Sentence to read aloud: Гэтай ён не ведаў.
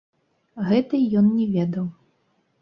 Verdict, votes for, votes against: rejected, 1, 2